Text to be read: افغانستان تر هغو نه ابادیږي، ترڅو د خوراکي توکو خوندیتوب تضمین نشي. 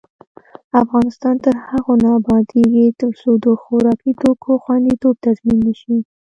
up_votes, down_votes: 0, 2